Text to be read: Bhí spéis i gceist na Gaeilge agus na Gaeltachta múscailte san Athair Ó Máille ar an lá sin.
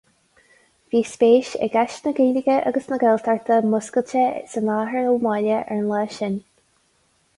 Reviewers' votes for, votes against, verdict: 4, 0, accepted